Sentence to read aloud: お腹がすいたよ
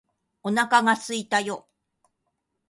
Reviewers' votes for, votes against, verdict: 4, 0, accepted